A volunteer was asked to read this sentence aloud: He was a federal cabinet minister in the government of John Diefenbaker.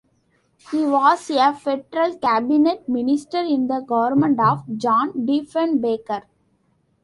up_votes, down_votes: 2, 0